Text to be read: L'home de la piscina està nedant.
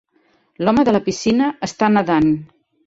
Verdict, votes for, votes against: accepted, 3, 0